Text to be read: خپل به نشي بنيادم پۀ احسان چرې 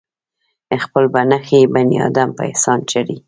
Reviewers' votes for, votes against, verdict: 1, 2, rejected